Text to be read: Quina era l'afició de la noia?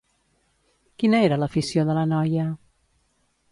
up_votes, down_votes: 2, 0